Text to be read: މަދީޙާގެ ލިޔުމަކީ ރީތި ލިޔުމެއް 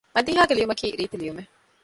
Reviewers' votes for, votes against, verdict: 1, 2, rejected